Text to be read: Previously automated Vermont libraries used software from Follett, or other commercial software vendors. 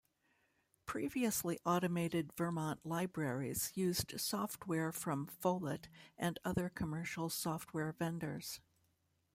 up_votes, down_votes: 1, 2